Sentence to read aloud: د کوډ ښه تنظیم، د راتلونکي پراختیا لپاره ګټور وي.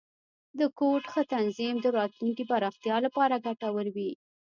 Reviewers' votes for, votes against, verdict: 2, 0, accepted